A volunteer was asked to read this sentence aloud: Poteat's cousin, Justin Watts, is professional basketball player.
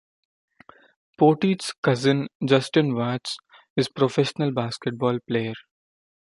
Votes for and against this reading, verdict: 1, 2, rejected